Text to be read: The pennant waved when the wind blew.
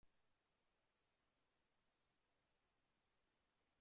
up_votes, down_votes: 0, 2